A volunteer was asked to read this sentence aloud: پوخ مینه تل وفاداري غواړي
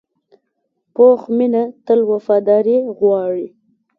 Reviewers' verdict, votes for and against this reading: accepted, 2, 0